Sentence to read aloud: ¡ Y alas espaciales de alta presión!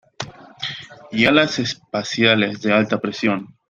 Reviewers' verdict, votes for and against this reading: rejected, 0, 2